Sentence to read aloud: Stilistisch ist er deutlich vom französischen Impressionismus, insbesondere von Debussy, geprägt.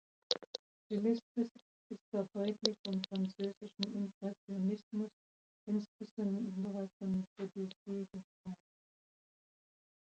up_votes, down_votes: 0, 2